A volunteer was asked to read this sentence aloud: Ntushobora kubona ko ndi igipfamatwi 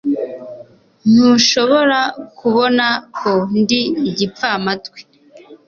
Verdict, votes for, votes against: accepted, 2, 0